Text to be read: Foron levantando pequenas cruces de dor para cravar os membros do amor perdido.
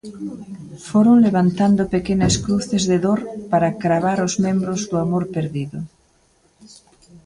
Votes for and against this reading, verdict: 1, 2, rejected